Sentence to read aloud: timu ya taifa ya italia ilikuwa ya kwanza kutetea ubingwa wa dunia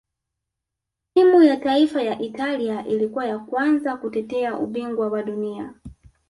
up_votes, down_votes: 0, 2